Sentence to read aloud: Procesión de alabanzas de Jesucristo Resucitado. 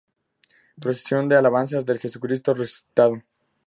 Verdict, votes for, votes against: accepted, 2, 0